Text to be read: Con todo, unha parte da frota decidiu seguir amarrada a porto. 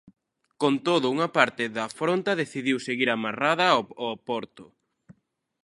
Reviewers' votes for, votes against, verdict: 0, 2, rejected